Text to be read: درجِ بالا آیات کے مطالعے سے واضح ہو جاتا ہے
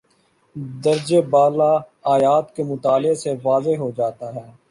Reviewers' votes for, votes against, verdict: 2, 0, accepted